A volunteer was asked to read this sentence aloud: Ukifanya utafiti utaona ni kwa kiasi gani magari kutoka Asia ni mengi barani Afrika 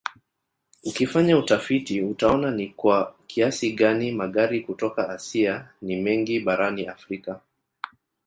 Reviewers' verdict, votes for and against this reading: rejected, 0, 2